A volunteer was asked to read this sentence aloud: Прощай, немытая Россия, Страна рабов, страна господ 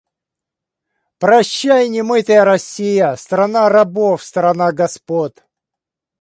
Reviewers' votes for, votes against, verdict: 2, 0, accepted